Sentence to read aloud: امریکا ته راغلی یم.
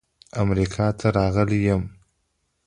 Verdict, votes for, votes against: accepted, 2, 0